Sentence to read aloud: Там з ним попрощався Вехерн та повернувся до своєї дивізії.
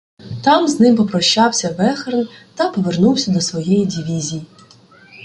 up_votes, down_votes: 1, 2